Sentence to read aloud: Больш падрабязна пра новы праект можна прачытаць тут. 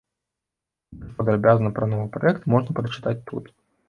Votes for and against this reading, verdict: 0, 2, rejected